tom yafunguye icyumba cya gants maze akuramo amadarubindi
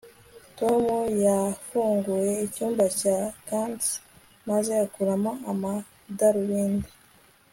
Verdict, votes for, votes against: accepted, 2, 0